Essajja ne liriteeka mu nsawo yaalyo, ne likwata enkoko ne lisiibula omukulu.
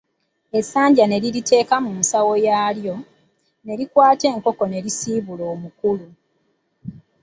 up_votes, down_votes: 0, 2